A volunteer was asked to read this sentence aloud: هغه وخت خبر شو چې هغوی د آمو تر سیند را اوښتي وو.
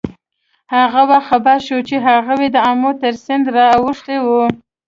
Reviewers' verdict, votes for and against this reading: accepted, 2, 0